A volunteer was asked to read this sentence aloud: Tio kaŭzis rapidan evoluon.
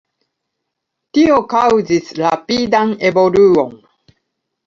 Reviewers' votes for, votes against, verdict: 2, 0, accepted